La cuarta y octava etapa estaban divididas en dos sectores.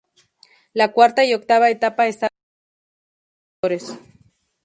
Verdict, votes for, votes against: rejected, 0, 2